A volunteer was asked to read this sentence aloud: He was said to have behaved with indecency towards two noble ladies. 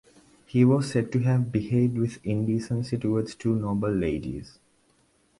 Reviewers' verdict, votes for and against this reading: accepted, 2, 1